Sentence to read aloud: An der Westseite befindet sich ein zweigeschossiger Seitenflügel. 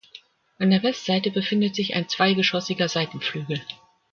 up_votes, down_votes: 2, 0